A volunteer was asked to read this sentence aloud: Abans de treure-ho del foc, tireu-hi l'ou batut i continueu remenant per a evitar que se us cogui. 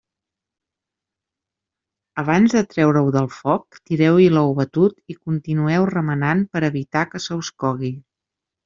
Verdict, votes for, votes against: accepted, 2, 0